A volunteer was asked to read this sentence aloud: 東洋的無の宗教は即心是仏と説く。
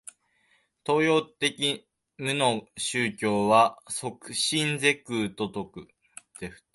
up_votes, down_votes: 0, 2